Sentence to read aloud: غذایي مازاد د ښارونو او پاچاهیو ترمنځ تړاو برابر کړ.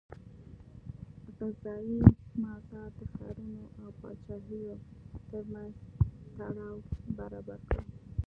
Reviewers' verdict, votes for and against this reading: rejected, 1, 2